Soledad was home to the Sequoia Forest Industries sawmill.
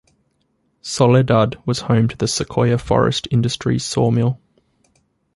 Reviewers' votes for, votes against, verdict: 2, 0, accepted